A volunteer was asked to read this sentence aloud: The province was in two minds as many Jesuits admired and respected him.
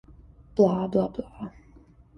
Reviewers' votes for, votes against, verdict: 0, 2, rejected